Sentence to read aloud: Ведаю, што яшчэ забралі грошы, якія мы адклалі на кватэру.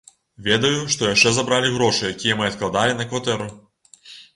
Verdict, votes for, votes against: rejected, 0, 2